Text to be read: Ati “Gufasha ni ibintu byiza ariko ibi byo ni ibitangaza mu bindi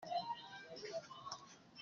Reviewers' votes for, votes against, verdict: 0, 2, rejected